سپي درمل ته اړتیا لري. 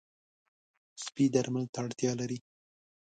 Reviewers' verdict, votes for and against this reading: accepted, 2, 0